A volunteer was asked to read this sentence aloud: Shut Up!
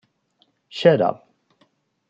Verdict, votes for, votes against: rejected, 1, 2